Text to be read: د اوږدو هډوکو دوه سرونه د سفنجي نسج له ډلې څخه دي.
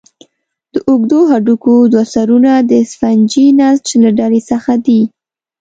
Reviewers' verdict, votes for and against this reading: accepted, 2, 0